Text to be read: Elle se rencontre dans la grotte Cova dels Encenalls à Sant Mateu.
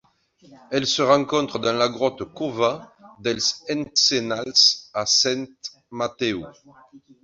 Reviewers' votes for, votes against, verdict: 2, 0, accepted